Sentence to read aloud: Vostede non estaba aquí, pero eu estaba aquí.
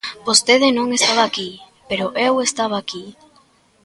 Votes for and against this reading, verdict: 2, 0, accepted